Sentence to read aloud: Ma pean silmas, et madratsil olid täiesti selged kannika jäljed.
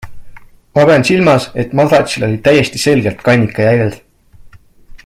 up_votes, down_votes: 2, 0